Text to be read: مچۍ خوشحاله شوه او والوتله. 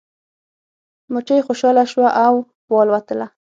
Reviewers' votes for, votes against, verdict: 6, 0, accepted